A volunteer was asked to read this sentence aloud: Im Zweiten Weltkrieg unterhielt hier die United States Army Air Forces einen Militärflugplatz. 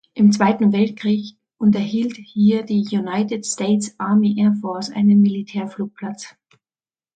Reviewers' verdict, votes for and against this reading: rejected, 1, 2